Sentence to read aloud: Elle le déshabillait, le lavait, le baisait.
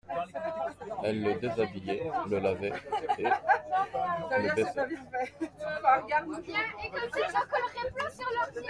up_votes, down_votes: 0, 2